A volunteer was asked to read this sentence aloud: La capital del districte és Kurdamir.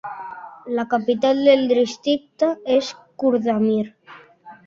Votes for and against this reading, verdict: 1, 2, rejected